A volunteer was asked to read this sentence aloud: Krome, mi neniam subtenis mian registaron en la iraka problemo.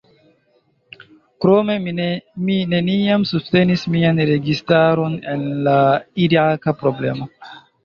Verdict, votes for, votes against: rejected, 1, 2